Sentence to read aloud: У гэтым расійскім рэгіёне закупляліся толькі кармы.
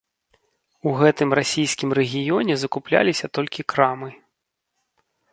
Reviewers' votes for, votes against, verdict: 1, 2, rejected